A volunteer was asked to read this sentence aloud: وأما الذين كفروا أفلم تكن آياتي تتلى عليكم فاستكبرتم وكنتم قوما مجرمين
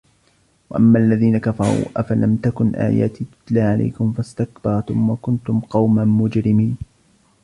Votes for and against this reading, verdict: 2, 0, accepted